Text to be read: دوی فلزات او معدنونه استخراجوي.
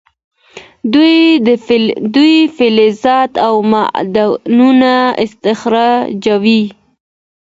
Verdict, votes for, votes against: accepted, 2, 1